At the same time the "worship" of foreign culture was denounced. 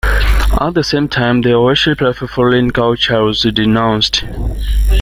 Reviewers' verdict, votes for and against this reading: accepted, 2, 0